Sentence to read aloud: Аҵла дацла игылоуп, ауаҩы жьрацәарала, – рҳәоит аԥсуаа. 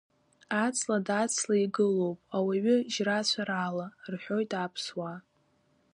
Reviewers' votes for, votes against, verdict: 1, 2, rejected